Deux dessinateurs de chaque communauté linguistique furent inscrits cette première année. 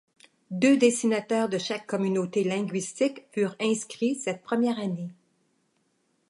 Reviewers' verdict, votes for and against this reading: accepted, 3, 0